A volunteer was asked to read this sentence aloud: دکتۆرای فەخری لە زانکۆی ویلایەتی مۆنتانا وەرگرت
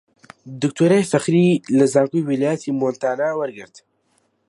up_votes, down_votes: 2, 0